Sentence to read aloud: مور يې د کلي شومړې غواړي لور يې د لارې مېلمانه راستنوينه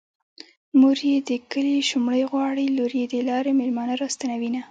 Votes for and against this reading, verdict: 1, 2, rejected